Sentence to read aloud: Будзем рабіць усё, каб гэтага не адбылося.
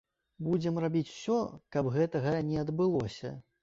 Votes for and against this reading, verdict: 2, 0, accepted